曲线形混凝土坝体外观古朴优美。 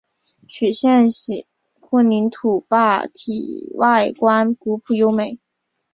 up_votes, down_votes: 2, 0